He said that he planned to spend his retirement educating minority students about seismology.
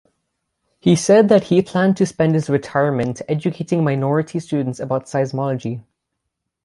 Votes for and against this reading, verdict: 6, 0, accepted